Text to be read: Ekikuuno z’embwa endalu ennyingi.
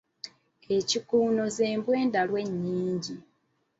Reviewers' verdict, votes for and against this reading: accepted, 2, 0